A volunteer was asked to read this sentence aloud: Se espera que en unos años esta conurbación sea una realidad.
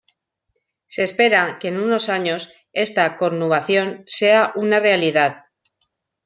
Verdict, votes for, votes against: rejected, 0, 2